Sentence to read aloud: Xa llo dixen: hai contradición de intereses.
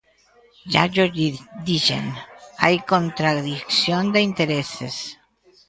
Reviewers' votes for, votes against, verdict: 0, 2, rejected